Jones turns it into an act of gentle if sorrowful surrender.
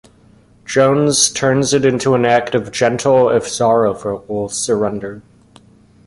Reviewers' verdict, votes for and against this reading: rejected, 0, 2